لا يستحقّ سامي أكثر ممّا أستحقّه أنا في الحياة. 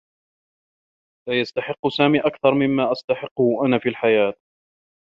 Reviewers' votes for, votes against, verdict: 1, 2, rejected